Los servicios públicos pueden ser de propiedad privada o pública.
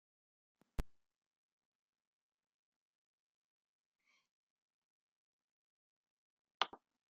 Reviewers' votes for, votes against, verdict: 0, 2, rejected